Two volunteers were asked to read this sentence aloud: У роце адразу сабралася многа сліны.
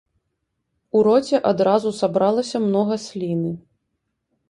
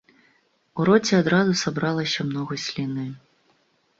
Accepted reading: first